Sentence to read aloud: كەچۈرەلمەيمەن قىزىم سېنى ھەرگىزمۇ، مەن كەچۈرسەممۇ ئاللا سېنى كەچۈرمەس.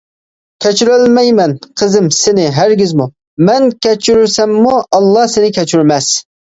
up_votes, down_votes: 2, 0